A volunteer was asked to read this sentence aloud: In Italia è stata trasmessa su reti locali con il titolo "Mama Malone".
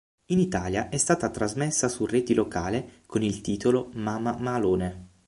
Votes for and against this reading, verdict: 3, 6, rejected